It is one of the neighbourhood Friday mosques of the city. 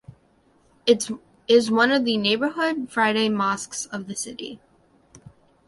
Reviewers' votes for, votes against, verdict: 0, 2, rejected